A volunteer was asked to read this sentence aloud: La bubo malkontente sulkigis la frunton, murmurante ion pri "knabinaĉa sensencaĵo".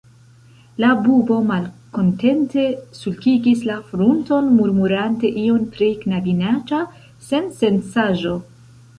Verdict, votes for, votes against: rejected, 0, 2